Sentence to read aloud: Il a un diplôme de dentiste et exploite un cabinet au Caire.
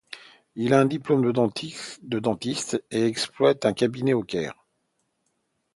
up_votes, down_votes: 0, 2